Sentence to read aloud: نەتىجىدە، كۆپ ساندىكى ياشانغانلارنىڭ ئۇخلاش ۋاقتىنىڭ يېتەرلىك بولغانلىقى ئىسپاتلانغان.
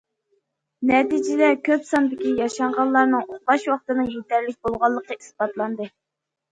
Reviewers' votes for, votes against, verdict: 2, 0, accepted